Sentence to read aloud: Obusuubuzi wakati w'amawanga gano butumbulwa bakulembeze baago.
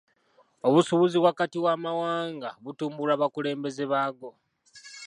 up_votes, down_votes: 2, 0